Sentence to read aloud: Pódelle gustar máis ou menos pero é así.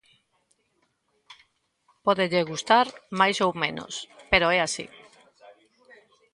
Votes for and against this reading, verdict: 2, 0, accepted